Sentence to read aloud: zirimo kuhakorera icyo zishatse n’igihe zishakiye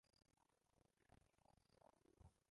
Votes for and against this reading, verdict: 0, 2, rejected